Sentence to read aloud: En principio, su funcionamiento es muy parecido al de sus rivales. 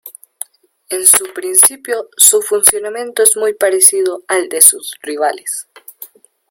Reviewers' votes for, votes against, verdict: 0, 2, rejected